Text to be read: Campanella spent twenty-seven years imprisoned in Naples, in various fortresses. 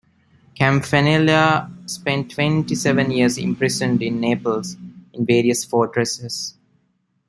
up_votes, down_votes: 2, 0